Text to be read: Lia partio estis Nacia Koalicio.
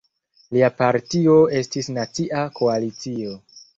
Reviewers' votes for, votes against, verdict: 1, 2, rejected